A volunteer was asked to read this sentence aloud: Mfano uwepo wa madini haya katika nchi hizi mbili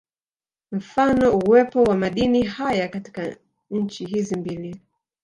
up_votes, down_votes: 0, 2